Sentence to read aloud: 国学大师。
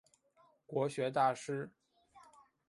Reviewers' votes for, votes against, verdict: 3, 0, accepted